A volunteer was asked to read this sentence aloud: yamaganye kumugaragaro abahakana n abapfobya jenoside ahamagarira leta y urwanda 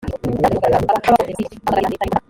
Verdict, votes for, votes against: rejected, 0, 5